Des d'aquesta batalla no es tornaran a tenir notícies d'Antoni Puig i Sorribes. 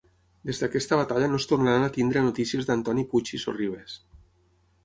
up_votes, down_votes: 3, 6